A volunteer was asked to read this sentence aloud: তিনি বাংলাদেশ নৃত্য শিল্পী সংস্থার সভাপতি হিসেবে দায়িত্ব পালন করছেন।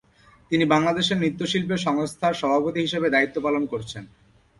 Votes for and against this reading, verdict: 2, 0, accepted